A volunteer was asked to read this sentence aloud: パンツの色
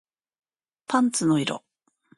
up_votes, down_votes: 2, 0